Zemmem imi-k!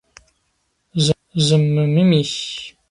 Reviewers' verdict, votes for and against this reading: rejected, 1, 2